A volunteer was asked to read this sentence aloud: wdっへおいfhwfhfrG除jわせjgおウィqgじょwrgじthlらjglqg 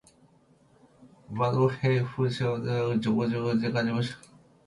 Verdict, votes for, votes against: rejected, 1, 2